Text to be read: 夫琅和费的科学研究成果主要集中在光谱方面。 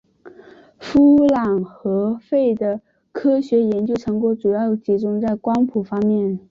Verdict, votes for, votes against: accepted, 7, 0